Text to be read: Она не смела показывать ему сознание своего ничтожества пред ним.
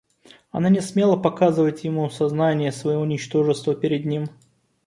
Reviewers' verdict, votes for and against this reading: rejected, 1, 2